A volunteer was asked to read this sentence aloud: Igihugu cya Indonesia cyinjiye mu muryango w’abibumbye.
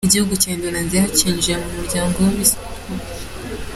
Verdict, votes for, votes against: rejected, 0, 3